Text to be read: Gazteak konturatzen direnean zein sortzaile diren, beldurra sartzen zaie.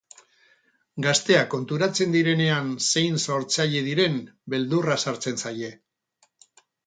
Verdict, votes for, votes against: rejected, 2, 2